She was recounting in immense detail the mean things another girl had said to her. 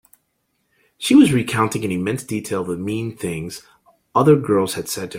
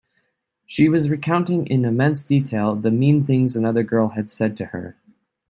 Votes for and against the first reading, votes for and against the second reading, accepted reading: 0, 3, 2, 0, second